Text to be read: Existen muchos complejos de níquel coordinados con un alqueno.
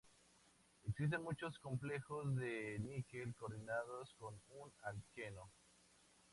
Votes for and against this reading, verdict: 2, 0, accepted